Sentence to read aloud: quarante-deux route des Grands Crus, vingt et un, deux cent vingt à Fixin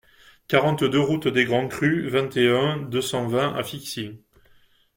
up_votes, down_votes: 2, 1